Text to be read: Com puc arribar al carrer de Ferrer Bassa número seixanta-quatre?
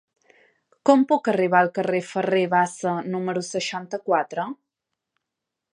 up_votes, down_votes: 2, 1